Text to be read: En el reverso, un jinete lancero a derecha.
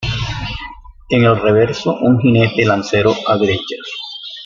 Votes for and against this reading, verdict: 2, 0, accepted